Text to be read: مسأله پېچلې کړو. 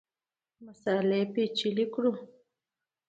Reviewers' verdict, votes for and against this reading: rejected, 1, 2